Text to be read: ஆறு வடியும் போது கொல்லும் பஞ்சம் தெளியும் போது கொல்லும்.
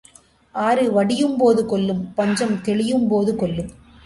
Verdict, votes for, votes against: accepted, 2, 0